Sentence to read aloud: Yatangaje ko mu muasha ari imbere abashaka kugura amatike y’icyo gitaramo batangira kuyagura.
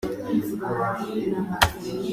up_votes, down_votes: 0, 2